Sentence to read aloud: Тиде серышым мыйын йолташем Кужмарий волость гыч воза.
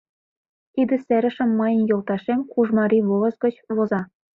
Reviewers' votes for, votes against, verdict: 2, 0, accepted